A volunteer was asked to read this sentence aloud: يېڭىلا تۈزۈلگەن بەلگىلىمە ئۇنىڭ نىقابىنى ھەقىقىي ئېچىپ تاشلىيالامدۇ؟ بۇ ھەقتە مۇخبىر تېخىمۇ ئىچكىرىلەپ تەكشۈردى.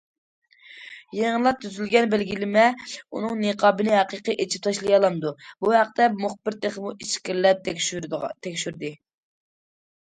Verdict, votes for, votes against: rejected, 0, 2